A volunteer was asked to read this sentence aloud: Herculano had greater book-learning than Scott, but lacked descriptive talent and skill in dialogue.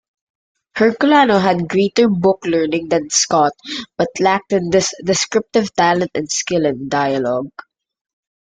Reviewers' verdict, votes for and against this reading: rejected, 0, 2